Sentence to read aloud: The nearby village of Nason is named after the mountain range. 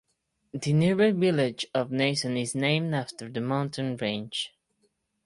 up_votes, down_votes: 4, 0